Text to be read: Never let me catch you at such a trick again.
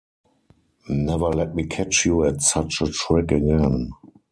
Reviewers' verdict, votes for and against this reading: accepted, 4, 2